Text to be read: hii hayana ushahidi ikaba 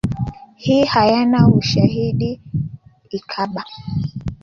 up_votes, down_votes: 2, 1